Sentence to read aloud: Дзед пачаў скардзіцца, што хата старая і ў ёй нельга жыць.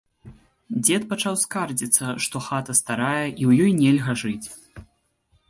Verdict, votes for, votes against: accepted, 2, 0